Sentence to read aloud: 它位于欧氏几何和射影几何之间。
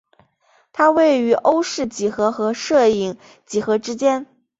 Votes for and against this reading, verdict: 3, 0, accepted